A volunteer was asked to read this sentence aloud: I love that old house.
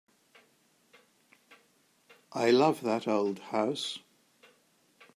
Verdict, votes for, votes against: accepted, 3, 0